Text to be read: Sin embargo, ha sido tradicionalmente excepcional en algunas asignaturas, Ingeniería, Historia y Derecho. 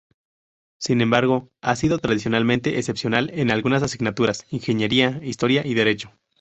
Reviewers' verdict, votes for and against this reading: accepted, 2, 0